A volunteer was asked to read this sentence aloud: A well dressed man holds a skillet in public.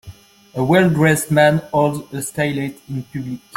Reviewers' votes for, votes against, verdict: 1, 2, rejected